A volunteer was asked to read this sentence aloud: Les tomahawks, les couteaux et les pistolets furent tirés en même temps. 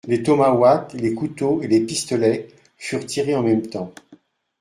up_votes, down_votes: 0, 2